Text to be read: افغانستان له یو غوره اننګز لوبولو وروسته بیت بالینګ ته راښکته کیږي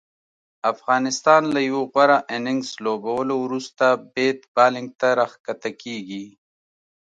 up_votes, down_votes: 2, 0